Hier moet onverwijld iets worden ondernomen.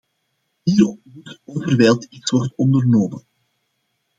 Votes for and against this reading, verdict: 0, 2, rejected